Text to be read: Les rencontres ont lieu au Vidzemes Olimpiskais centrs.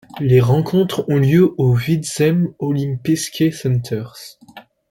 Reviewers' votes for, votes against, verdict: 2, 0, accepted